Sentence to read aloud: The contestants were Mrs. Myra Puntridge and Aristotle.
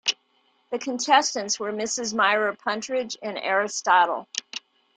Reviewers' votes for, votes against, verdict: 1, 2, rejected